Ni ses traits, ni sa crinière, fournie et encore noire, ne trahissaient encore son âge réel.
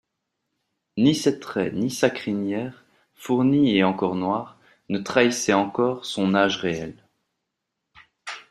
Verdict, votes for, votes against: accepted, 2, 0